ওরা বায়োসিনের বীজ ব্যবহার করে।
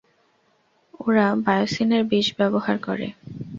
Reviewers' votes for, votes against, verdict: 0, 2, rejected